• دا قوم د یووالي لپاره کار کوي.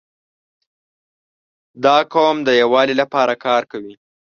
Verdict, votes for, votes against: accepted, 3, 0